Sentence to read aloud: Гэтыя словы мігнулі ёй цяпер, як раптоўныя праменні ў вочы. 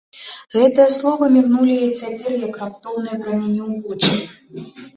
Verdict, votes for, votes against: rejected, 1, 2